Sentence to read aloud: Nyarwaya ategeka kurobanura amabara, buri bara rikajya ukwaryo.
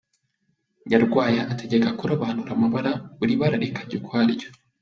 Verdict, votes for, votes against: accepted, 2, 0